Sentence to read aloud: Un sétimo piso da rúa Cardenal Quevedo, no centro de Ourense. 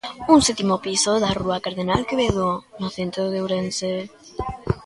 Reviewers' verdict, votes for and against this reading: rejected, 1, 2